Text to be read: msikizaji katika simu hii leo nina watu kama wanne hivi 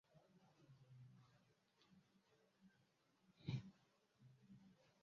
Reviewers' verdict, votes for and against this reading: rejected, 0, 2